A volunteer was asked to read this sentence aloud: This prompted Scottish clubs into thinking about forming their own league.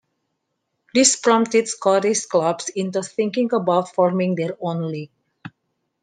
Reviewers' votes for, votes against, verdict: 2, 1, accepted